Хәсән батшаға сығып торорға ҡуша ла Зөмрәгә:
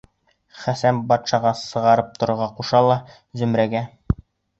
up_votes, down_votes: 1, 2